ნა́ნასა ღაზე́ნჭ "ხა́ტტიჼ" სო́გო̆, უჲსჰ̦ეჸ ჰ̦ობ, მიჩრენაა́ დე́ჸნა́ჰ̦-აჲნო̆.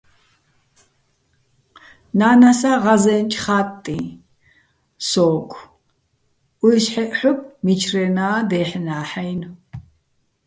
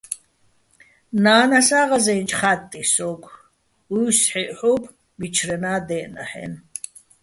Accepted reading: second